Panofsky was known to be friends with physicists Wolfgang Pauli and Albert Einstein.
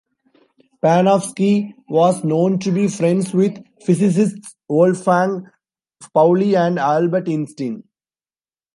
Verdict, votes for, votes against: rejected, 1, 2